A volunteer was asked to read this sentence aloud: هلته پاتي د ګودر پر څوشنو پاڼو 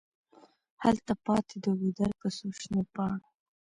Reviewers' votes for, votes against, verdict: 2, 0, accepted